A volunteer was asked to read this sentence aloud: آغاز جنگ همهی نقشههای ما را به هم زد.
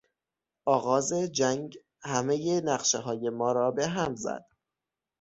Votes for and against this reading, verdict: 6, 0, accepted